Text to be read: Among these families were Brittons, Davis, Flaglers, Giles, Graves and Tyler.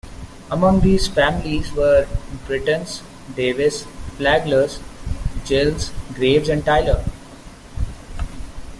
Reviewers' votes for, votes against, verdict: 1, 2, rejected